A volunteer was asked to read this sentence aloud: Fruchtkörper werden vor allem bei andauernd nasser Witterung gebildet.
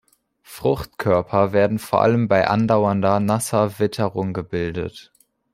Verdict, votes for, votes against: rejected, 1, 3